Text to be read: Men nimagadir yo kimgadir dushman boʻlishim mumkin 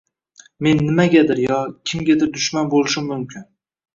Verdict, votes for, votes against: accepted, 2, 0